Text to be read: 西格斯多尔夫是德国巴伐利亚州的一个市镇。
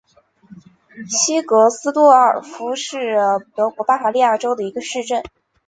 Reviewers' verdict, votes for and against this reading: rejected, 0, 2